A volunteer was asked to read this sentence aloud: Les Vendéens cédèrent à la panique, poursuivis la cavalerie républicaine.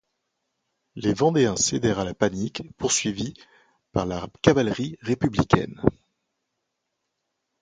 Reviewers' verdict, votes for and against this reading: rejected, 1, 2